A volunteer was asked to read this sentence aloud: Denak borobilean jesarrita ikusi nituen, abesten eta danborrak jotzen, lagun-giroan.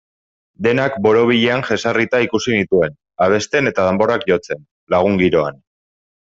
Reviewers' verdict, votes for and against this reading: accepted, 2, 0